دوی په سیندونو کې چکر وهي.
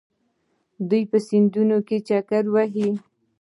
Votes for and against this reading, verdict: 1, 2, rejected